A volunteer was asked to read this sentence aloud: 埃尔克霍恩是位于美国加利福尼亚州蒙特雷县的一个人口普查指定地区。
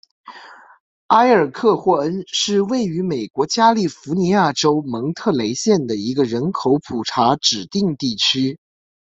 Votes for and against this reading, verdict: 2, 1, accepted